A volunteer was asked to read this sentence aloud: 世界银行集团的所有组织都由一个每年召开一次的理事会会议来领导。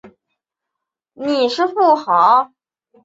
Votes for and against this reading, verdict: 0, 3, rejected